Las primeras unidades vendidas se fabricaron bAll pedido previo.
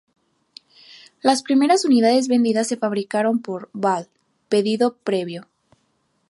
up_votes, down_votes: 2, 0